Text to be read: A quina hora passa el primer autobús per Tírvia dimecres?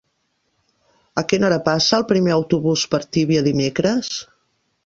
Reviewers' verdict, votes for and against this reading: rejected, 0, 2